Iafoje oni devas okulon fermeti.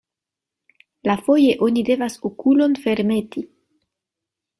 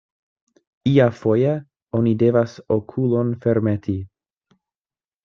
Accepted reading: second